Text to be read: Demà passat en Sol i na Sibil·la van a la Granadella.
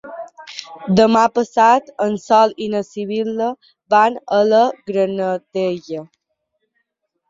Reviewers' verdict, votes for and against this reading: accepted, 2, 0